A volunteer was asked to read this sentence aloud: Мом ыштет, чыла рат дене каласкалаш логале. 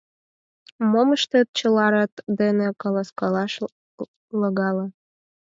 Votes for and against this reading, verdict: 2, 4, rejected